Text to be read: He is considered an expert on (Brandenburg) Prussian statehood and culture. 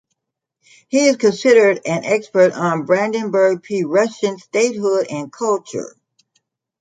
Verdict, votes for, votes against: rejected, 1, 2